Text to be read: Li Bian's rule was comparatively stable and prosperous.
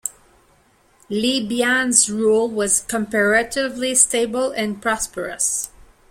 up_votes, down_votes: 1, 2